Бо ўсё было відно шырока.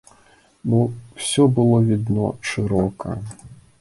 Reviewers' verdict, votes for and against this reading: accepted, 2, 0